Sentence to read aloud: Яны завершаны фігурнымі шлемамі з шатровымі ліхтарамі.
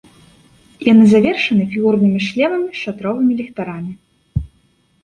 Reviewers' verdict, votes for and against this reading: accepted, 2, 0